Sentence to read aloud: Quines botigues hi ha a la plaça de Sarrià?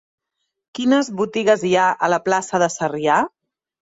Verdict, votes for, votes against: accepted, 3, 0